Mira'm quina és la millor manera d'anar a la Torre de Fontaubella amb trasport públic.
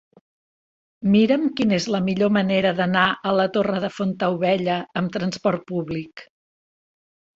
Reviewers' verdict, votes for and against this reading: accepted, 3, 0